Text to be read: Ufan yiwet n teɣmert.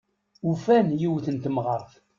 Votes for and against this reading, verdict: 1, 2, rejected